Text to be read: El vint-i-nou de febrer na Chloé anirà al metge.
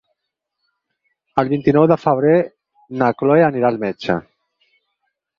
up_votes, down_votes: 4, 2